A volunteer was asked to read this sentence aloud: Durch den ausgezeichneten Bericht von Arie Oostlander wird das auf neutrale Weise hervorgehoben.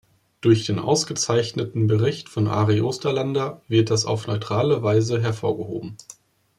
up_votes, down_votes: 0, 2